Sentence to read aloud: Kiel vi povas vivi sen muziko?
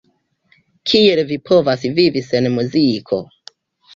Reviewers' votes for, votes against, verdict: 2, 0, accepted